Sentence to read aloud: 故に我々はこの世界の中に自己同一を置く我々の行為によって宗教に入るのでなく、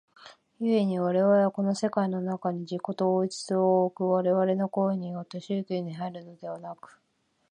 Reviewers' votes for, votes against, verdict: 1, 2, rejected